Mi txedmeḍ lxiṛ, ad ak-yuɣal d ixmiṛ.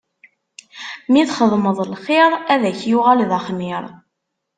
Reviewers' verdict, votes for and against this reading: rejected, 0, 2